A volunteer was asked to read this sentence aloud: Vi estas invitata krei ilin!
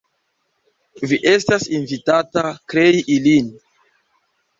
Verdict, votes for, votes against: rejected, 0, 3